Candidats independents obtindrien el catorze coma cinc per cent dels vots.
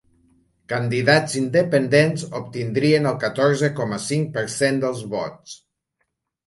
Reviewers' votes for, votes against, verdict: 4, 0, accepted